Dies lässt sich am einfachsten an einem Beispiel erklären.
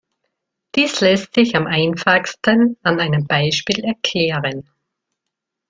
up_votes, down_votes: 1, 2